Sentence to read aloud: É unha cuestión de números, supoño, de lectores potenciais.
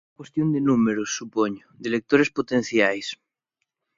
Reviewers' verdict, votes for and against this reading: rejected, 0, 2